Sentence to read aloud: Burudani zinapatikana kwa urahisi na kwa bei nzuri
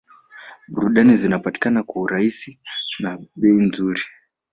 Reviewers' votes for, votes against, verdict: 1, 2, rejected